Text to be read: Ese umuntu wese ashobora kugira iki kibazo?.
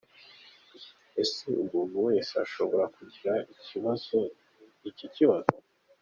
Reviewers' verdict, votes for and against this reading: rejected, 0, 2